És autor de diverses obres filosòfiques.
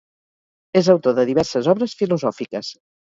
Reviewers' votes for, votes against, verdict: 4, 0, accepted